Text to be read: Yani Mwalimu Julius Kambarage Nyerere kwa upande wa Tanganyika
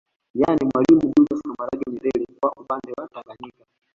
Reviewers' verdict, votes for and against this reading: rejected, 0, 2